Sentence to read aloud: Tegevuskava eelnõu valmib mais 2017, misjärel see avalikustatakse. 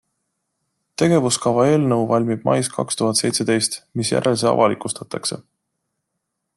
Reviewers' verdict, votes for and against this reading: rejected, 0, 2